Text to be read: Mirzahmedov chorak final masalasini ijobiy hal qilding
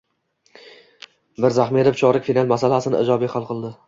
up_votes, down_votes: 1, 2